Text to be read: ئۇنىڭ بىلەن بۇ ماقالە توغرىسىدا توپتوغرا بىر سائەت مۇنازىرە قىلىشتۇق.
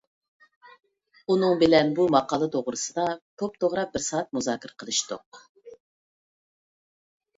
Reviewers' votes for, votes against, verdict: 0, 2, rejected